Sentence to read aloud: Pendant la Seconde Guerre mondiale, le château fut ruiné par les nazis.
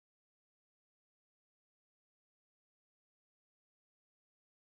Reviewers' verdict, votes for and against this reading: rejected, 0, 2